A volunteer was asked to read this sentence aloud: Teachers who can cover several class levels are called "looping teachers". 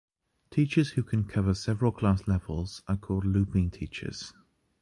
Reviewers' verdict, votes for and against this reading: accepted, 2, 0